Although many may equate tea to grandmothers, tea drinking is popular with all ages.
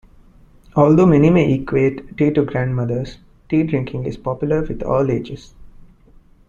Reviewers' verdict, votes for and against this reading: accepted, 2, 0